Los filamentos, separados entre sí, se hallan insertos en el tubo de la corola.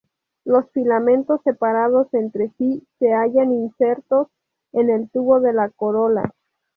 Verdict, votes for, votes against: rejected, 0, 2